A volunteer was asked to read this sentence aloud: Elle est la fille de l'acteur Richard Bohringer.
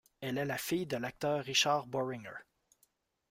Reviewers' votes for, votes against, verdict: 1, 2, rejected